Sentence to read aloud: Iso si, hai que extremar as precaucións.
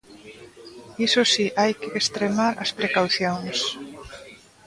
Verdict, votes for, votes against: accepted, 2, 1